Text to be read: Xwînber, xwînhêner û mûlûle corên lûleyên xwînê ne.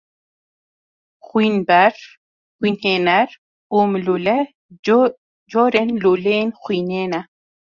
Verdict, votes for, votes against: accepted, 2, 0